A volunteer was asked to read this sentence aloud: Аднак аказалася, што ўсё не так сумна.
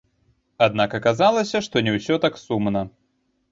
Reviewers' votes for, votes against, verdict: 0, 2, rejected